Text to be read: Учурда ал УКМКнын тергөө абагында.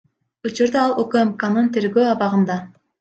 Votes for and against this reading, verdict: 2, 0, accepted